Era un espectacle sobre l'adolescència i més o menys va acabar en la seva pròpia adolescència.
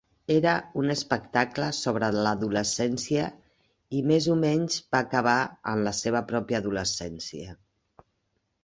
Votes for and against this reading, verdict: 3, 0, accepted